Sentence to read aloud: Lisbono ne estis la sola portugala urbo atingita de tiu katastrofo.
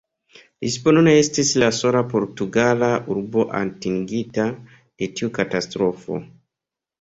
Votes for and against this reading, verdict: 2, 3, rejected